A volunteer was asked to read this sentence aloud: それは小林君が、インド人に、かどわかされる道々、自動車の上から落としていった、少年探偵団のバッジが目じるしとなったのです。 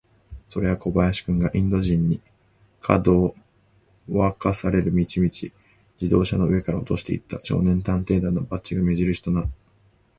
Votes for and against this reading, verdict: 0, 2, rejected